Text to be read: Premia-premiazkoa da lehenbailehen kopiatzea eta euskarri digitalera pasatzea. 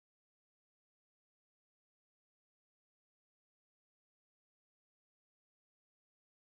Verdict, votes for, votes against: rejected, 0, 2